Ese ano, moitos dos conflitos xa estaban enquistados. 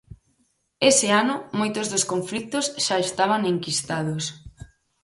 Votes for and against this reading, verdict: 0, 4, rejected